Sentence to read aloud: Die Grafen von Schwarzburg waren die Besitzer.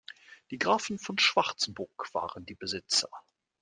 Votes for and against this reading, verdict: 2, 0, accepted